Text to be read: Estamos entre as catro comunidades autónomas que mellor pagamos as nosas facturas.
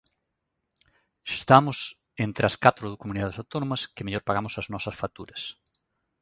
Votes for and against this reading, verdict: 1, 2, rejected